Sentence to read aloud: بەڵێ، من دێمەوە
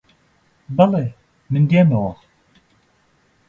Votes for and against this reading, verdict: 2, 0, accepted